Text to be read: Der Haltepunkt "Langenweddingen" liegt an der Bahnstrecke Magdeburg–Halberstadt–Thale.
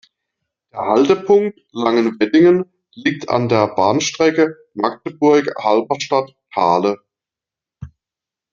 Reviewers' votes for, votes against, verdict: 2, 0, accepted